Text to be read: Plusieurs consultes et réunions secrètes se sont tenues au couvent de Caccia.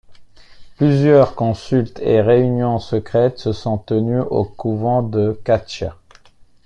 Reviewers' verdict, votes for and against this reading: accepted, 2, 0